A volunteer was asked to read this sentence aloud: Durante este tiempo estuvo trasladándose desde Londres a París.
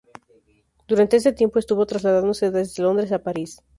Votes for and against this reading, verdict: 0, 2, rejected